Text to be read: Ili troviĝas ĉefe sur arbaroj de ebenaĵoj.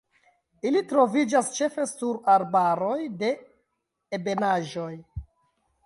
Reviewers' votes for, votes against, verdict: 1, 2, rejected